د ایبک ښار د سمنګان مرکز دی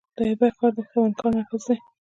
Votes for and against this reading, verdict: 0, 2, rejected